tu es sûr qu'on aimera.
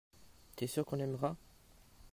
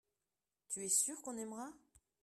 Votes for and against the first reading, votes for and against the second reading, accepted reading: 2, 1, 1, 2, first